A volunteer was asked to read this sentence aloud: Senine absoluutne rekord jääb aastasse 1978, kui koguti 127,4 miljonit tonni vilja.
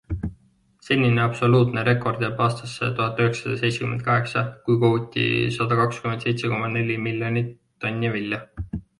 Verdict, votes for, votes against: rejected, 0, 2